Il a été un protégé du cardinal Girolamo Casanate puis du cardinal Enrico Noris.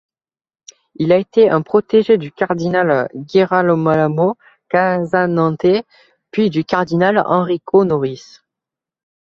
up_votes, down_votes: 0, 2